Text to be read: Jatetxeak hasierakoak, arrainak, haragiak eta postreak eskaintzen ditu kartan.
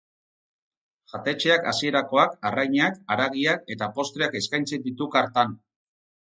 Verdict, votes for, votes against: rejected, 2, 2